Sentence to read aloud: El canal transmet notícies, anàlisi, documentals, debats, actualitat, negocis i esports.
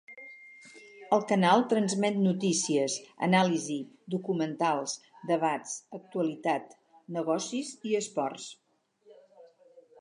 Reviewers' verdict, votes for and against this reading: rejected, 2, 2